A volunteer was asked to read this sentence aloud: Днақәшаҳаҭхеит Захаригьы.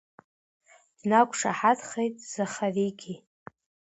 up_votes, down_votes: 2, 1